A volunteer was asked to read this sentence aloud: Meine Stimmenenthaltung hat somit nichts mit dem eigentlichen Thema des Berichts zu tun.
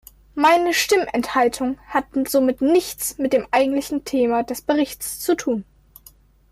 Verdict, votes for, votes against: rejected, 1, 2